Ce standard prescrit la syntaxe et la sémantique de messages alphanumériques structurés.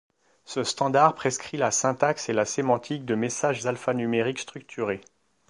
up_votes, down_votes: 2, 0